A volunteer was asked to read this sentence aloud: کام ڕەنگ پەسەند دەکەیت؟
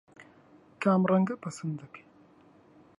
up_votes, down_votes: 1, 4